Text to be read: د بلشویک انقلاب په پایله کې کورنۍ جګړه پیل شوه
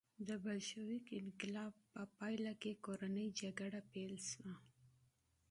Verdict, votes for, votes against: accepted, 3, 1